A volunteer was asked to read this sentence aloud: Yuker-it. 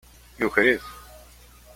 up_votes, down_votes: 2, 0